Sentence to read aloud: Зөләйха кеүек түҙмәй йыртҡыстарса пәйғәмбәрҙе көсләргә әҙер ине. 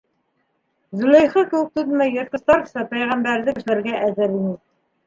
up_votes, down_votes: 2, 0